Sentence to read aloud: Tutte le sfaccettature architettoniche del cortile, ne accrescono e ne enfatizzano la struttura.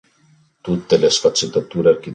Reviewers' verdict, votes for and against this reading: rejected, 0, 3